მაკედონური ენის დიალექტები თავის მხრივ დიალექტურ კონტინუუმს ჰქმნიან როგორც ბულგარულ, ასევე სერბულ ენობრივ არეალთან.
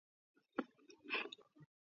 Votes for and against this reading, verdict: 1, 2, rejected